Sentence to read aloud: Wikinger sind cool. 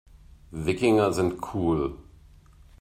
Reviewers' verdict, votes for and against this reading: accepted, 2, 0